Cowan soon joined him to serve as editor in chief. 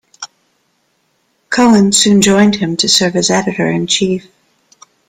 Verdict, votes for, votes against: accepted, 2, 0